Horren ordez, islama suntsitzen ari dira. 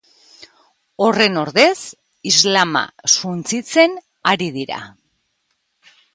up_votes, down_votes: 3, 0